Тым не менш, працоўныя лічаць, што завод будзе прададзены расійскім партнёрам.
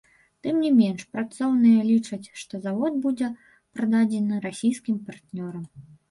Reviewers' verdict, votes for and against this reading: rejected, 1, 2